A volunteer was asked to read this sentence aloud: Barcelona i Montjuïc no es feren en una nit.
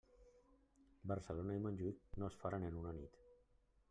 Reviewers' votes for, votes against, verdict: 1, 2, rejected